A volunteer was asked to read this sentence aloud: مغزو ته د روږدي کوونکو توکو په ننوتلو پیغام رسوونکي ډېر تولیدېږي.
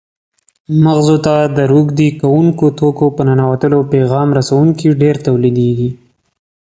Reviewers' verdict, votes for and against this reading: accepted, 2, 0